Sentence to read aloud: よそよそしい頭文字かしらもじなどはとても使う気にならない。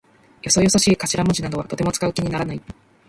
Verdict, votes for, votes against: accepted, 2, 1